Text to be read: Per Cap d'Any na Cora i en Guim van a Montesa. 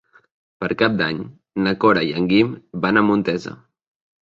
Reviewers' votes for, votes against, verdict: 3, 0, accepted